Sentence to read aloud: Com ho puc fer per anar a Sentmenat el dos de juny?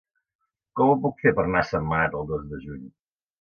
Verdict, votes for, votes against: accepted, 2, 1